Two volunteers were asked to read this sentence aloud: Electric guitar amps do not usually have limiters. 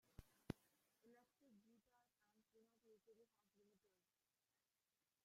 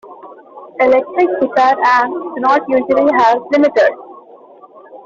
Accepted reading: second